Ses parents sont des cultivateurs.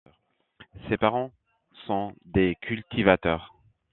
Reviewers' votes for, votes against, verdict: 2, 0, accepted